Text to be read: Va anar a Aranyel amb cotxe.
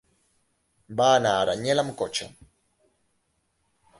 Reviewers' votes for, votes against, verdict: 2, 0, accepted